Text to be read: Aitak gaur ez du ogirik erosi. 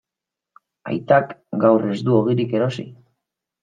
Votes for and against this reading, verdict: 2, 0, accepted